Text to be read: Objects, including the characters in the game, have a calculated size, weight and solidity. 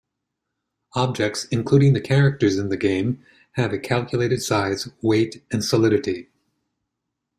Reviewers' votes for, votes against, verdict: 2, 0, accepted